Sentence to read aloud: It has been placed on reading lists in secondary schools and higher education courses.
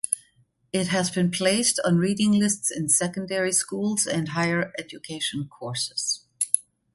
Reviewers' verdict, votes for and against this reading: accepted, 2, 0